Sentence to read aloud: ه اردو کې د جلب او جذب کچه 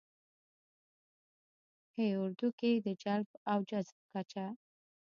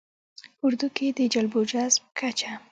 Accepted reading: second